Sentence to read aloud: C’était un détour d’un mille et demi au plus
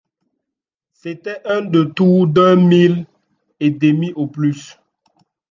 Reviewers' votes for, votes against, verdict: 2, 0, accepted